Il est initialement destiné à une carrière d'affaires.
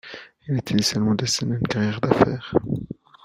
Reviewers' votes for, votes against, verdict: 0, 2, rejected